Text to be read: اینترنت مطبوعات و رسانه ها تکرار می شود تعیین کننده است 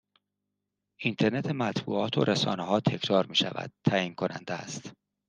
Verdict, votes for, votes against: accepted, 2, 0